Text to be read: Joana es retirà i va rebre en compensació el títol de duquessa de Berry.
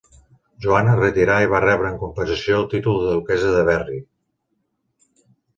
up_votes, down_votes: 2, 0